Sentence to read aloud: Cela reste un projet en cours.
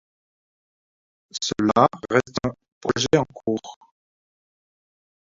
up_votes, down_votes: 1, 2